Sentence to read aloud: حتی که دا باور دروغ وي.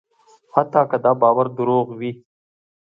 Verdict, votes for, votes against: accepted, 3, 0